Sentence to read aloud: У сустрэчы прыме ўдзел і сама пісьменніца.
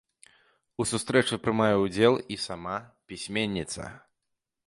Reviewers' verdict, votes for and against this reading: rejected, 1, 2